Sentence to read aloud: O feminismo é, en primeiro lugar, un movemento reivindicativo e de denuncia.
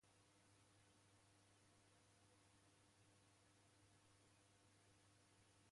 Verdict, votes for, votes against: rejected, 0, 2